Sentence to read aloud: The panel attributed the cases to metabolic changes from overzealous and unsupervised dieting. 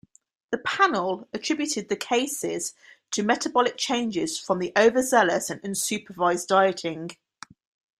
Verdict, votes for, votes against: rejected, 1, 2